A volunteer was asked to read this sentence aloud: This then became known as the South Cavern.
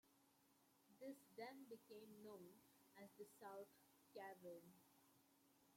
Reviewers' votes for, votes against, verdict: 0, 2, rejected